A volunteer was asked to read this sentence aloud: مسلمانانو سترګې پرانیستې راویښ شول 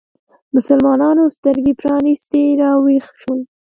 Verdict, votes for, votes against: accepted, 2, 0